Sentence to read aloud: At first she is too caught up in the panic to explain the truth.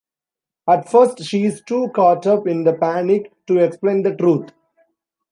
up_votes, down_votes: 2, 0